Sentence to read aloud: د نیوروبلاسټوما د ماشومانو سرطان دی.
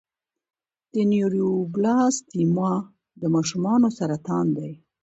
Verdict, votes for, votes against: accepted, 2, 0